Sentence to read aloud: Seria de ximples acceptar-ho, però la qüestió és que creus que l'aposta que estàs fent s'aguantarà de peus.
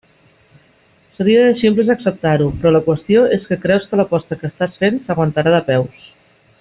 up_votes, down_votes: 2, 1